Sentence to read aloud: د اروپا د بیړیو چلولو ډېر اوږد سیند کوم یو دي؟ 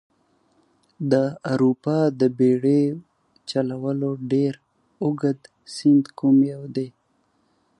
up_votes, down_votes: 2, 0